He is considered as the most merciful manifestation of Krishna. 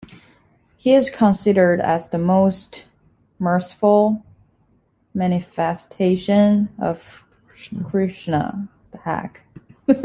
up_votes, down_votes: 0, 2